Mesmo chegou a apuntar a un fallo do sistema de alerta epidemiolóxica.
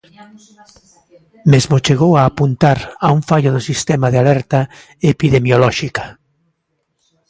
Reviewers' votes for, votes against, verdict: 1, 2, rejected